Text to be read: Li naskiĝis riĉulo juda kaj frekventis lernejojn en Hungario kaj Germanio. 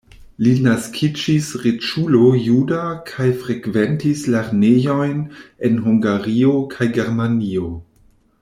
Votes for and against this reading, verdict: 2, 0, accepted